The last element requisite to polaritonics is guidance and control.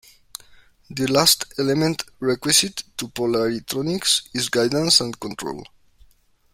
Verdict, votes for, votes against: rejected, 1, 2